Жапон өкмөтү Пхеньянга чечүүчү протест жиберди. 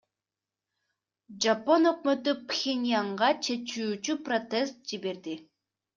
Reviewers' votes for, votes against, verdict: 1, 2, rejected